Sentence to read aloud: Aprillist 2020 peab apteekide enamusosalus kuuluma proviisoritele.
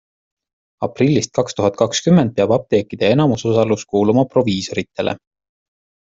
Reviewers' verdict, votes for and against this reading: rejected, 0, 2